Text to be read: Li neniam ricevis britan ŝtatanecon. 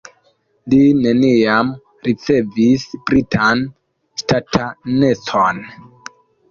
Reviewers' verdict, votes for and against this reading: rejected, 1, 2